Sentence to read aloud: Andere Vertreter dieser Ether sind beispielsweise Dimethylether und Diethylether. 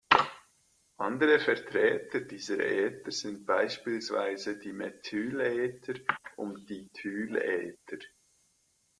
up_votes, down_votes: 0, 2